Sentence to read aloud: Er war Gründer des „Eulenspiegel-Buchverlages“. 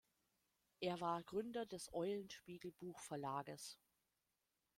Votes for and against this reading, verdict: 0, 2, rejected